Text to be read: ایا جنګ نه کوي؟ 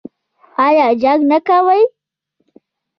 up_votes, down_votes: 1, 2